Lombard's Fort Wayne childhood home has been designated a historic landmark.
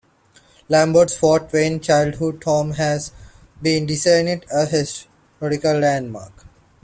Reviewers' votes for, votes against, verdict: 0, 2, rejected